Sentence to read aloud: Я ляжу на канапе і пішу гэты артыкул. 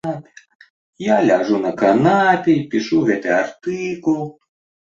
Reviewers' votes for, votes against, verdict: 0, 2, rejected